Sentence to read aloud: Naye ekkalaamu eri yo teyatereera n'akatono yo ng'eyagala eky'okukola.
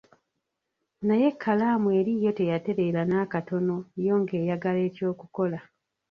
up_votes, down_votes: 1, 2